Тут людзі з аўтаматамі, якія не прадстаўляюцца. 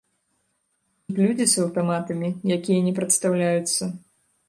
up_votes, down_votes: 0, 3